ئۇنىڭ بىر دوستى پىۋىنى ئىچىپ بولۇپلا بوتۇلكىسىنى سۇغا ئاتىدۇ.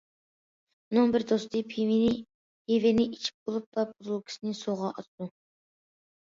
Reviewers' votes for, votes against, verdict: 0, 2, rejected